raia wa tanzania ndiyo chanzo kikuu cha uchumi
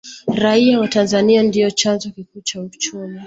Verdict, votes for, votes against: accepted, 2, 0